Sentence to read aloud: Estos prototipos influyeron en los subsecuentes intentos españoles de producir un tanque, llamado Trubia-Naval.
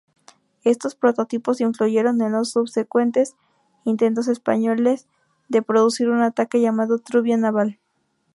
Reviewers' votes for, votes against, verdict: 2, 0, accepted